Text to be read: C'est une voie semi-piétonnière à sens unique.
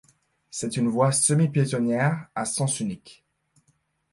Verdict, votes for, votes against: accepted, 2, 0